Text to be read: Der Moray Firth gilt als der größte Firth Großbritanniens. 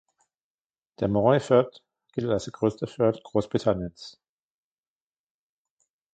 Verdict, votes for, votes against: rejected, 1, 2